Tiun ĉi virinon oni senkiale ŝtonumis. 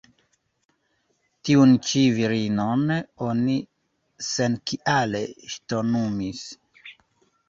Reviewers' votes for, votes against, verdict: 2, 1, accepted